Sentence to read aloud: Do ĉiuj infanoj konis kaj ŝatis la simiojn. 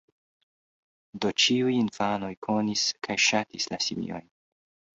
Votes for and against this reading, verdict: 2, 0, accepted